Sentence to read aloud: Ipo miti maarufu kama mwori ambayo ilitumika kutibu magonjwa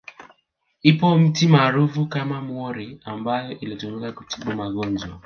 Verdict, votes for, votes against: accepted, 3, 0